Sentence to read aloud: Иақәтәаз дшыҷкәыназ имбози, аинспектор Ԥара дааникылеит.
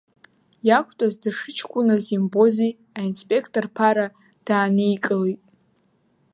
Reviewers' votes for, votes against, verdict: 2, 3, rejected